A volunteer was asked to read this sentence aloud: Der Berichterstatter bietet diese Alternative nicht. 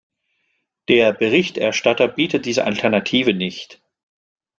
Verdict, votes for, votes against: accepted, 2, 0